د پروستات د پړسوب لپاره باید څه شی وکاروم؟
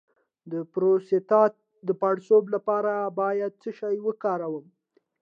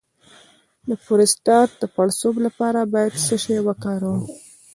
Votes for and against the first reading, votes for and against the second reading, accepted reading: 2, 0, 0, 2, first